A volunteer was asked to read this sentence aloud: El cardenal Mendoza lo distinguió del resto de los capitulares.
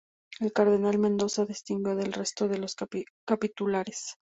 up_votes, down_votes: 0, 4